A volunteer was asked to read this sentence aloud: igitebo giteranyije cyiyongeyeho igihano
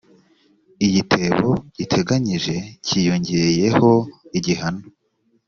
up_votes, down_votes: 0, 2